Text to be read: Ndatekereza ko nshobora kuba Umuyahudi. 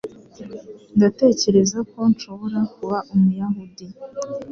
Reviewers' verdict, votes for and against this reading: accepted, 2, 0